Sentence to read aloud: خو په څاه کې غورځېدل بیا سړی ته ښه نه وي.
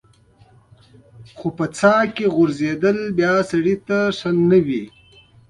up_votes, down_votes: 2, 0